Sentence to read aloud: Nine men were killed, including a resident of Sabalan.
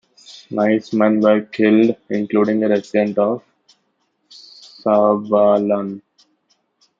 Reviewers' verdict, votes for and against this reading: rejected, 0, 2